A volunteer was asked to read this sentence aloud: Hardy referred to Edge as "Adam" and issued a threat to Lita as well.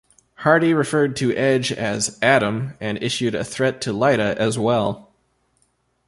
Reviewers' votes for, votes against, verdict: 2, 0, accepted